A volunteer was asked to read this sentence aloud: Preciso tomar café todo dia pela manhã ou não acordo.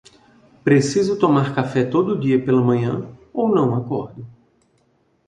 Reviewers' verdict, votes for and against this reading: rejected, 1, 2